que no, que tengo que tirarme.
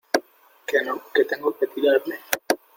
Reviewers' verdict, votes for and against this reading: accepted, 3, 1